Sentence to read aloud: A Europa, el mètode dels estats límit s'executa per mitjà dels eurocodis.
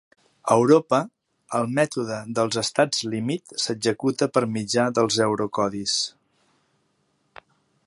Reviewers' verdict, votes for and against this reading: accepted, 2, 0